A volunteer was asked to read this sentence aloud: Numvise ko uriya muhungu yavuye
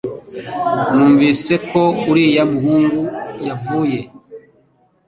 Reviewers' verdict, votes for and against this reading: accepted, 2, 0